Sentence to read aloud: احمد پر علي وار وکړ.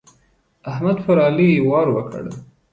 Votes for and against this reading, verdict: 2, 0, accepted